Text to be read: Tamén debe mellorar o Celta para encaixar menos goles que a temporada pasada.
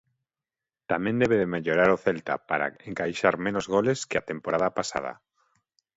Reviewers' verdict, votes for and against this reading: accepted, 2, 1